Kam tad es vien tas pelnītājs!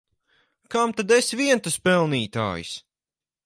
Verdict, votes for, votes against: accepted, 4, 0